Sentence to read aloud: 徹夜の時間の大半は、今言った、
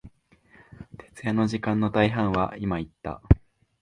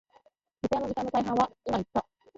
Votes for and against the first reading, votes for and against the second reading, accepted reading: 2, 0, 8, 9, first